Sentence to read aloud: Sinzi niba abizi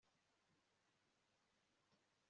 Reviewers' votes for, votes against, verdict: 0, 2, rejected